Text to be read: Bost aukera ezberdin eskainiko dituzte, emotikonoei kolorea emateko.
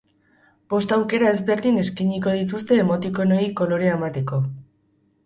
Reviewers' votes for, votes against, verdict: 0, 4, rejected